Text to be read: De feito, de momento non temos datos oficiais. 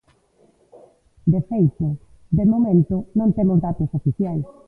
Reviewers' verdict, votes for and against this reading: rejected, 0, 2